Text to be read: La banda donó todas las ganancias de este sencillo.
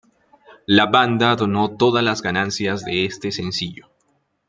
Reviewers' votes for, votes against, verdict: 2, 0, accepted